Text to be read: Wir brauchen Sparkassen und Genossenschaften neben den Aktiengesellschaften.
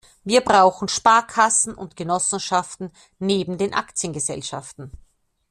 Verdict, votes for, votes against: accepted, 2, 0